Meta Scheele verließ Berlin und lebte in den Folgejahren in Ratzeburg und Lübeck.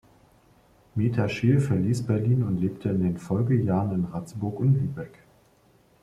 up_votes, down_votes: 1, 2